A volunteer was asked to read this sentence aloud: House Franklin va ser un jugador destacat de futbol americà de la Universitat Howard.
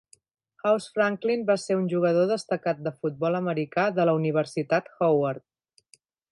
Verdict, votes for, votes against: accepted, 3, 0